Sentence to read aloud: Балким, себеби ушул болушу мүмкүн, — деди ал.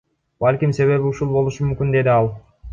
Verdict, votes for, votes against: rejected, 1, 2